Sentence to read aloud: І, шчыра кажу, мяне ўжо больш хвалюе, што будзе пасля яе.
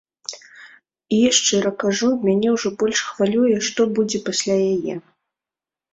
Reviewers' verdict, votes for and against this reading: rejected, 0, 2